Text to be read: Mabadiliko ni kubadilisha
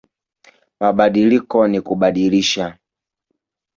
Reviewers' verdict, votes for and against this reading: accepted, 4, 0